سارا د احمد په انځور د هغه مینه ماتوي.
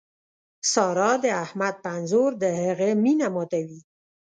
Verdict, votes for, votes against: accepted, 2, 0